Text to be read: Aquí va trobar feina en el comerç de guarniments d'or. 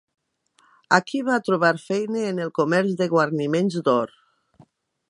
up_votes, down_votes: 2, 0